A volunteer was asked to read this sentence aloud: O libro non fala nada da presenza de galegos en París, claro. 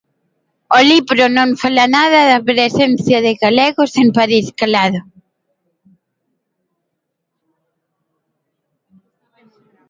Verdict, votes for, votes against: rejected, 0, 2